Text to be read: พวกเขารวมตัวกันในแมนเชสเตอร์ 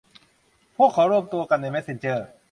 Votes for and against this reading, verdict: 0, 2, rejected